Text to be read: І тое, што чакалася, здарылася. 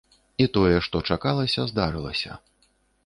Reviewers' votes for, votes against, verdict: 2, 0, accepted